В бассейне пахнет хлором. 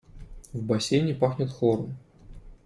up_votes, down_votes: 2, 0